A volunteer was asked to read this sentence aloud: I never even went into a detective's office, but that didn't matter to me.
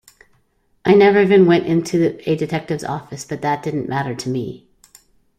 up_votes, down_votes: 0, 2